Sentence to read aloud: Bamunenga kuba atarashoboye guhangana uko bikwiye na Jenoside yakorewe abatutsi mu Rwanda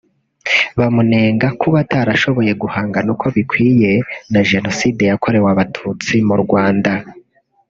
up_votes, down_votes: 0, 2